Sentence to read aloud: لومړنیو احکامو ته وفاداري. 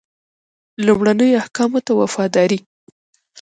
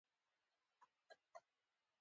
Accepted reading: second